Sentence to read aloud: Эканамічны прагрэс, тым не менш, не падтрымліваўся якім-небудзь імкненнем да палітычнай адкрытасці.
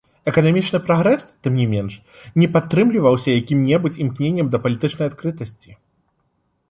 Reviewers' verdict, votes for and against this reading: accepted, 2, 0